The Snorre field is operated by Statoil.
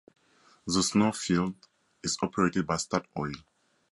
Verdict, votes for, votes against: accepted, 2, 0